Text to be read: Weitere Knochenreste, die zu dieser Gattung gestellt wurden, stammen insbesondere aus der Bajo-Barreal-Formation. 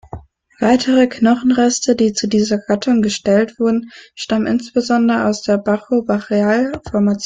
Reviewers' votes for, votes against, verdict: 1, 2, rejected